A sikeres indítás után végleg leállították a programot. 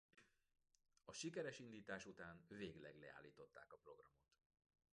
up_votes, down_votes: 2, 1